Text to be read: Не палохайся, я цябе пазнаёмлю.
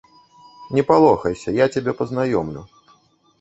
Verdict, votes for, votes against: rejected, 0, 2